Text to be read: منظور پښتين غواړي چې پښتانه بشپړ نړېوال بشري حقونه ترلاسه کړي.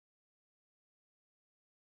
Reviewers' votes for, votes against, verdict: 1, 2, rejected